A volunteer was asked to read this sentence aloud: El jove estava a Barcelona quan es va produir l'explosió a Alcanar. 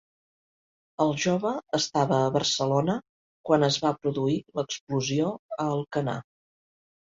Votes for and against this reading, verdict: 3, 0, accepted